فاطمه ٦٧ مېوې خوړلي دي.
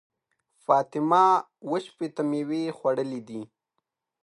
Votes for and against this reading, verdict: 0, 2, rejected